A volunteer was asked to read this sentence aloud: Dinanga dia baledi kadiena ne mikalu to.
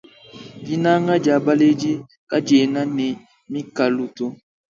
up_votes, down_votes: 2, 1